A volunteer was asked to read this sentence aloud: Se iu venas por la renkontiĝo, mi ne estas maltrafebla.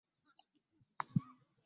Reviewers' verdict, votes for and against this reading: rejected, 0, 2